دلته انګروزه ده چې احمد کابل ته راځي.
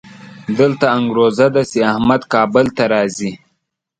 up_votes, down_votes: 2, 0